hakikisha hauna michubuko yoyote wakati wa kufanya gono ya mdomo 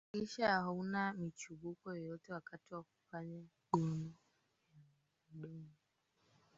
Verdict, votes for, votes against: rejected, 1, 3